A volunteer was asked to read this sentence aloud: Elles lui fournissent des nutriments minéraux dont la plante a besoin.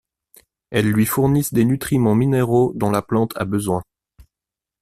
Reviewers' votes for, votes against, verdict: 2, 0, accepted